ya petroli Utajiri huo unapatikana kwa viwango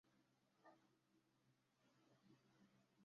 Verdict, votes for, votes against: rejected, 0, 2